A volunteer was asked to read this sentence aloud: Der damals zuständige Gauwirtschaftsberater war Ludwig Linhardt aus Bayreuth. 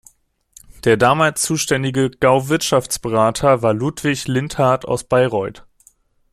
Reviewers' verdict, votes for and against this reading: rejected, 1, 2